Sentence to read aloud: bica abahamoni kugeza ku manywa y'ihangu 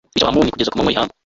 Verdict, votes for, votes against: rejected, 0, 3